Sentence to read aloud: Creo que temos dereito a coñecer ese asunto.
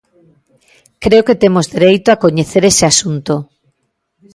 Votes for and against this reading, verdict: 2, 0, accepted